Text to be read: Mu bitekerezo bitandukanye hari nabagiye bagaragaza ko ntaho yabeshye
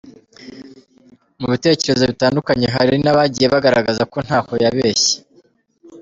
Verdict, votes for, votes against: accepted, 4, 2